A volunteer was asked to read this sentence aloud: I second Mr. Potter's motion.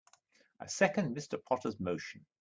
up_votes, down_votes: 2, 0